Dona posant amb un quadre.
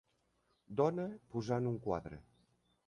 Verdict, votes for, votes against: rejected, 0, 2